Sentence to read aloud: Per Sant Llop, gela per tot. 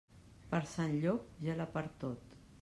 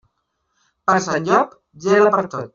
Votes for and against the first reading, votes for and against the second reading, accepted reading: 2, 0, 0, 2, first